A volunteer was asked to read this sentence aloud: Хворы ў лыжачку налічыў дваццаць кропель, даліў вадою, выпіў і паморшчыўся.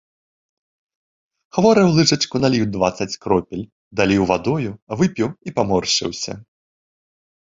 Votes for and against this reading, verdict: 2, 0, accepted